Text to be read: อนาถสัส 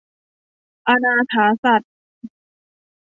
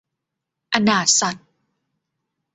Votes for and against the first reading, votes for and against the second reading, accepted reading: 0, 2, 2, 0, second